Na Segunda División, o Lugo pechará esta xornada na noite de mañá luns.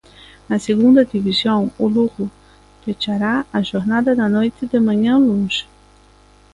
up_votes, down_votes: 0, 2